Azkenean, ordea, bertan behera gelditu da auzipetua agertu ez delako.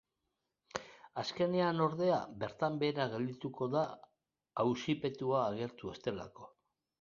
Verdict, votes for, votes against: rejected, 0, 2